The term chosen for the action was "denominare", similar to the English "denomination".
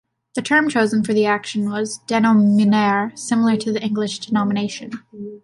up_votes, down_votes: 2, 0